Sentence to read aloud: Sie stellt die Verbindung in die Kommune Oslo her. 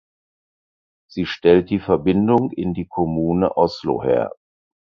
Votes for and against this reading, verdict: 4, 0, accepted